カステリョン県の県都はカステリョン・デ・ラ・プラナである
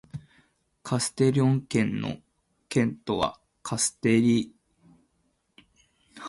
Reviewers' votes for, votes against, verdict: 0, 2, rejected